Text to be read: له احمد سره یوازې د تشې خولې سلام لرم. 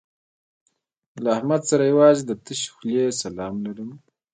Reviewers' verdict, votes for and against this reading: rejected, 1, 2